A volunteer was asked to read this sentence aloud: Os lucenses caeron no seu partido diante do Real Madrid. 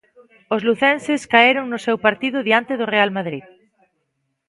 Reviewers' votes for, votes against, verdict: 1, 2, rejected